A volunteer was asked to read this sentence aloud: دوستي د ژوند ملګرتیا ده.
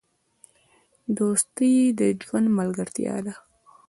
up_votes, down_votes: 1, 2